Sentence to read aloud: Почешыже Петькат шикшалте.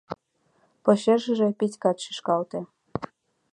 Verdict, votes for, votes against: rejected, 0, 2